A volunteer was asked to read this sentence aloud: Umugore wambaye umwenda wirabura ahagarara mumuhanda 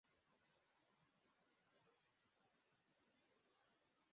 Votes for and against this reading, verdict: 0, 2, rejected